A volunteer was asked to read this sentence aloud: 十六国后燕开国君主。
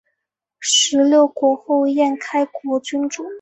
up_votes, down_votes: 2, 0